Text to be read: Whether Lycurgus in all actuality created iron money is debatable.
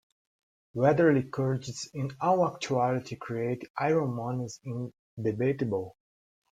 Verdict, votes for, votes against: rejected, 1, 2